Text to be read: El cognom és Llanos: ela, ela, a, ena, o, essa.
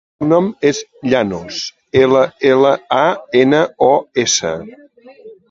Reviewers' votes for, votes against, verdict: 0, 2, rejected